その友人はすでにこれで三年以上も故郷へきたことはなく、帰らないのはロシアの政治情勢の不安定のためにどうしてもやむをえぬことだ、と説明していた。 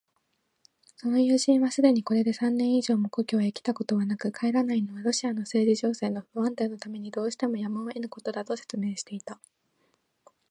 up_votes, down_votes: 2, 0